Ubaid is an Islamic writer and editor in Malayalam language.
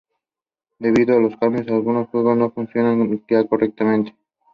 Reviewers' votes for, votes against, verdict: 0, 2, rejected